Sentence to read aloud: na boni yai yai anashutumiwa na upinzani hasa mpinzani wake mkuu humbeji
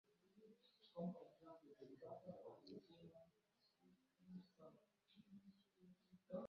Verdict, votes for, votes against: rejected, 0, 2